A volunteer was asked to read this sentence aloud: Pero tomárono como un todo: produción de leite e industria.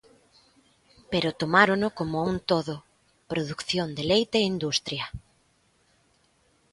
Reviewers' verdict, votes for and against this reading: rejected, 1, 3